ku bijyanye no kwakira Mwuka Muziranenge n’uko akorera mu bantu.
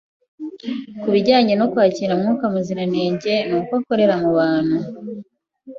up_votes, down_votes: 2, 0